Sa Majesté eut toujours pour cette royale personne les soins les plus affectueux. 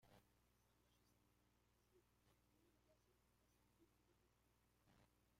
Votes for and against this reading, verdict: 0, 2, rejected